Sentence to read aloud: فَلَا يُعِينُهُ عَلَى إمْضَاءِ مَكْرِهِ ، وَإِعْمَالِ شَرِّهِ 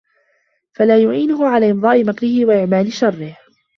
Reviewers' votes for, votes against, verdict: 2, 0, accepted